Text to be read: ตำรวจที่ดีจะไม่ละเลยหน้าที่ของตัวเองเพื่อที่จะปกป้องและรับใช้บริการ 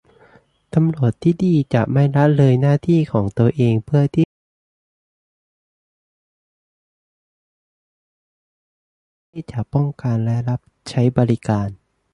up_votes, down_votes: 0, 2